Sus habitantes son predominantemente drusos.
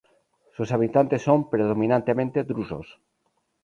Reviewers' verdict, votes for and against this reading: accepted, 2, 0